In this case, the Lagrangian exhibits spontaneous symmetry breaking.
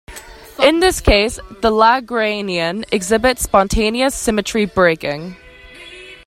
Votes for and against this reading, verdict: 2, 1, accepted